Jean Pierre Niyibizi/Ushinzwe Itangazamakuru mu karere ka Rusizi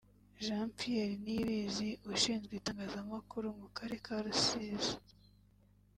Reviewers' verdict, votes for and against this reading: accepted, 2, 0